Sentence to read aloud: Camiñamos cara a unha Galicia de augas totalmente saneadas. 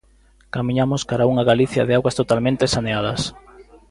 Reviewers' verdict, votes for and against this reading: accepted, 3, 0